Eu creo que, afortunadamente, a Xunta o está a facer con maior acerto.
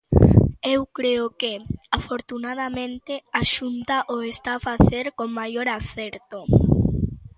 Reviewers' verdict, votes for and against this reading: accepted, 2, 0